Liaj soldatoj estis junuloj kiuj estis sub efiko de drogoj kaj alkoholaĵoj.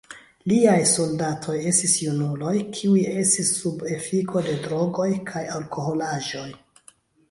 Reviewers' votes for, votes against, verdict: 2, 0, accepted